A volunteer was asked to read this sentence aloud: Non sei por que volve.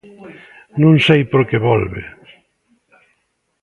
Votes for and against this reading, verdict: 2, 0, accepted